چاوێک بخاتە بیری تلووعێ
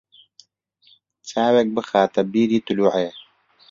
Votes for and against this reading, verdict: 2, 1, accepted